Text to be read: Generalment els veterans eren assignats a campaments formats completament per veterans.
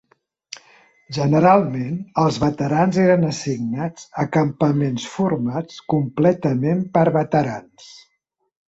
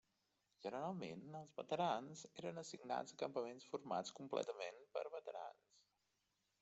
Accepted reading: first